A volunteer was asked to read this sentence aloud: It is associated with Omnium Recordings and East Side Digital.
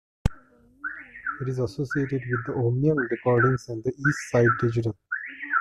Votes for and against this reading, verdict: 0, 2, rejected